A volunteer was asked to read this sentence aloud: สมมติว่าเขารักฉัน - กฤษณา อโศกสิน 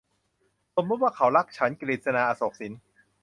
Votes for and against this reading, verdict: 2, 0, accepted